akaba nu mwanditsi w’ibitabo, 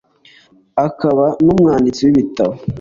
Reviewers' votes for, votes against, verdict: 3, 0, accepted